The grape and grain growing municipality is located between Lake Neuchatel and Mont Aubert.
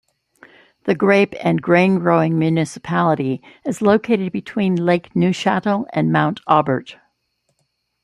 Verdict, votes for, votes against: accepted, 2, 0